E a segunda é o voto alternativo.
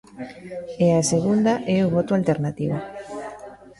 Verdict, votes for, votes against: rejected, 0, 2